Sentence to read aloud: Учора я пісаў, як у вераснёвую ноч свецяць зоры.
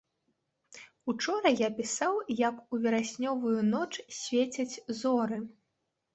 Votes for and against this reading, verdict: 2, 0, accepted